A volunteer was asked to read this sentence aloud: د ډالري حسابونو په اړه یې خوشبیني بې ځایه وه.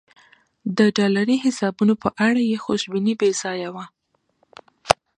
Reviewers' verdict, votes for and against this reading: accepted, 2, 0